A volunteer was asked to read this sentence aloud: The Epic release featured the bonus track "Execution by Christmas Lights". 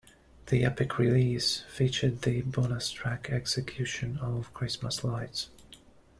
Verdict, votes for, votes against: rejected, 1, 2